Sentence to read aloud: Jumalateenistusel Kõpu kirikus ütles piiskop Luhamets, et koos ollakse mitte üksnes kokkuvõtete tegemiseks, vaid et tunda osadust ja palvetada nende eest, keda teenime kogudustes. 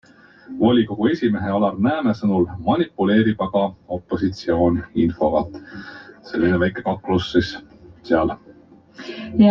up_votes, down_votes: 0, 2